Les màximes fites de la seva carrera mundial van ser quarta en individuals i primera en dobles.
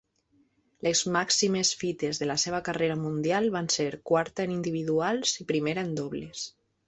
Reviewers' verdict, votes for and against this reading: accepted, 2, 0